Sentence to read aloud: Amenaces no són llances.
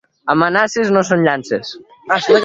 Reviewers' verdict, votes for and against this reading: rejected, 1, 2